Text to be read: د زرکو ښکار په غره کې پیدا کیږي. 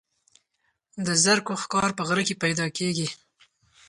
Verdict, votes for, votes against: accepted, 4, 0